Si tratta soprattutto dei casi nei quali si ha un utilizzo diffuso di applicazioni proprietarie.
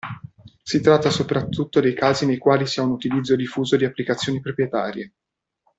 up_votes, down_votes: 2, 0